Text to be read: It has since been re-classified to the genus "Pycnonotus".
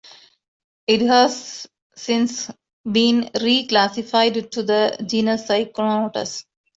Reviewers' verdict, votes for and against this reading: accepted, 2, 0